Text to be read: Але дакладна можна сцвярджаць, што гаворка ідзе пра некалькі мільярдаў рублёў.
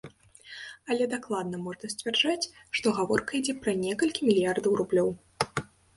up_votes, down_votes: 2, 0